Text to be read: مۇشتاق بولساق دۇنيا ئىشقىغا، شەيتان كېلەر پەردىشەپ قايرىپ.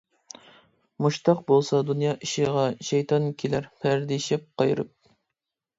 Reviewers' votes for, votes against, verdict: 0, 2, rejected